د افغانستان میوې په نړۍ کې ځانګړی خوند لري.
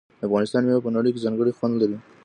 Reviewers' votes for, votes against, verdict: 2, 0, accepted